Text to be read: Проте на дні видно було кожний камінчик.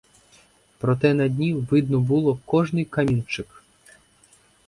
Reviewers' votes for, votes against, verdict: 4, 0, accepted